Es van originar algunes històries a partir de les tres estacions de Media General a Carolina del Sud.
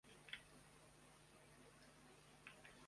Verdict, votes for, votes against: rejected, 0, 2